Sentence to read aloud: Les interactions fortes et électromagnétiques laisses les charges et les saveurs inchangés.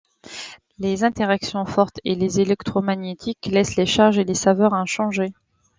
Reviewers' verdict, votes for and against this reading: rejected, 0, 2